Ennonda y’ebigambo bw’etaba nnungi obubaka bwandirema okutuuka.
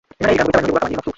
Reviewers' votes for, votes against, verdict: 0, 2, rejected